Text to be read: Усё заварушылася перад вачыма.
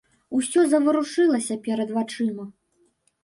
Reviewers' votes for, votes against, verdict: 2, 0, accepted